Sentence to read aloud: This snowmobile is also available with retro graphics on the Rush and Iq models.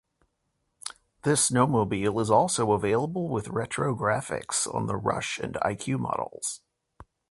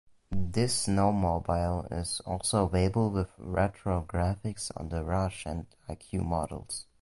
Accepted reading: first